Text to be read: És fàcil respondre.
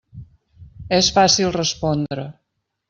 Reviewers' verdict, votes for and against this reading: accepted, 3, 0